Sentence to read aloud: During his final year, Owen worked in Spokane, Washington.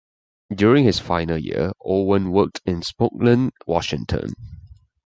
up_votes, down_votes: 0, 2